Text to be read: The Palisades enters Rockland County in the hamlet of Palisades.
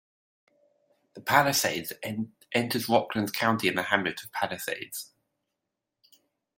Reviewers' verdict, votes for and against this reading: rejected, 1, 2